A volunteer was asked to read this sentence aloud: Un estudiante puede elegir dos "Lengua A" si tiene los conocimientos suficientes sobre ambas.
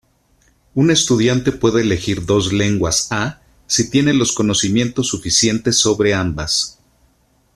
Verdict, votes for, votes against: rejected, 1, 2